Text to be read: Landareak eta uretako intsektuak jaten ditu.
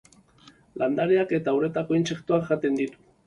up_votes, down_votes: 3, 0